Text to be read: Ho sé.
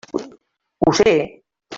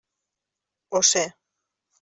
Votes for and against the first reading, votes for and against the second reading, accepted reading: 1, 2, 3, 0, second